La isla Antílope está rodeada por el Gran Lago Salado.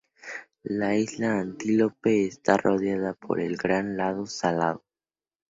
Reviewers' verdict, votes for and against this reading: rejected, 0, 2